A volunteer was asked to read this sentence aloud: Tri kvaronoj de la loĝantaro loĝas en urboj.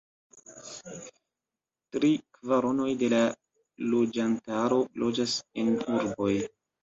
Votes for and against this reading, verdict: 2, 1, accepted